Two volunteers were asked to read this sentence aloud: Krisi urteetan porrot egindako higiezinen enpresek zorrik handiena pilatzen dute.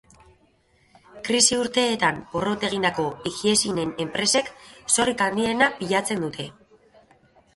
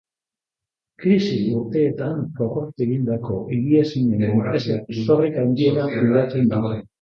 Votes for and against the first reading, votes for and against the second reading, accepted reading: 2, 1, 0, 2, first